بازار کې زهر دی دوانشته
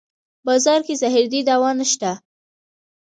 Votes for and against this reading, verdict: 1, 2, rejected